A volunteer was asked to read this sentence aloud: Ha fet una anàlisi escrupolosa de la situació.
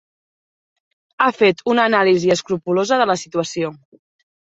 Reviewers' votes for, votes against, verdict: 4, 0, accepted